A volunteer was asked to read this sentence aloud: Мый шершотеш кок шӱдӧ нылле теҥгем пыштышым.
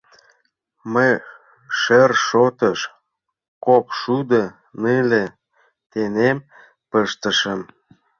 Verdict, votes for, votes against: rejected, 0, 2